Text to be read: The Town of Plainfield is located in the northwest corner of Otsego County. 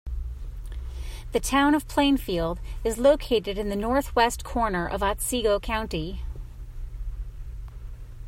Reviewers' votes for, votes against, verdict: 2, 0, accepted